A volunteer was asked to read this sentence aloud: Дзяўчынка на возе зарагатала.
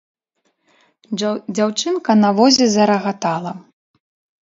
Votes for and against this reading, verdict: 1, 2, rejected